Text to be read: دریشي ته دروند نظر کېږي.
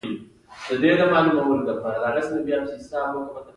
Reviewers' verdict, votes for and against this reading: rejected, 0, 2